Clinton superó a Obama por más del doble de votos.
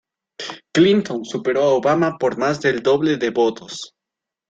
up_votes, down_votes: 2, 0